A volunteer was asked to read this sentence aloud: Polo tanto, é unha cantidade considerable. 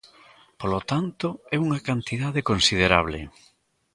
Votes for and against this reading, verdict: 2, 0, accepted